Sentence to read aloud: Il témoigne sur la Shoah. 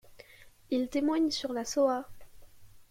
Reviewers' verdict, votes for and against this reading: rejected, 1, 2